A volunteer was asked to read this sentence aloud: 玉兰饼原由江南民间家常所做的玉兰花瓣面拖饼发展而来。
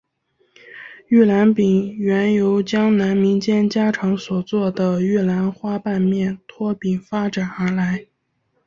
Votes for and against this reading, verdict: 3, 1, accepted